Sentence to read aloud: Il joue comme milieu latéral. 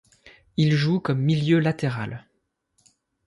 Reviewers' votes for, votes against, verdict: 2, 0, accepted